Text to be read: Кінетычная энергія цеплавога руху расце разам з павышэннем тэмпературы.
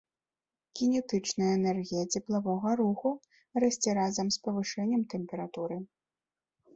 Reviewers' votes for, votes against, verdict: 2, 0, accepted